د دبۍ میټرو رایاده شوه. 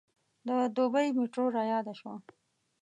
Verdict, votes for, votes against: accepted, 2, 0